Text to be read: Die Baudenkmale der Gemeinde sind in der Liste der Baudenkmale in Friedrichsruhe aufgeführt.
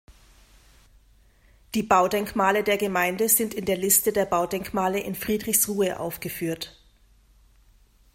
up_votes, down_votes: 2, 0